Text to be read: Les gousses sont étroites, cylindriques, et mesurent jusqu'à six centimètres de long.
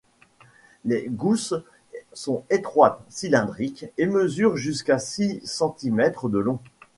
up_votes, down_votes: 2, 0